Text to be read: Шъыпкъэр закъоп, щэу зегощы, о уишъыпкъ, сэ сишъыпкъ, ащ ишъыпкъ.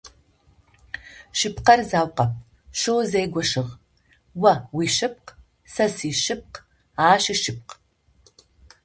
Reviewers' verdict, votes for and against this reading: rejected, 0, 2